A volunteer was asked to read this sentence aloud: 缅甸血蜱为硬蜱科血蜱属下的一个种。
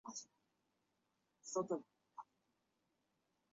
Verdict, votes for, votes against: rejected, 0, 2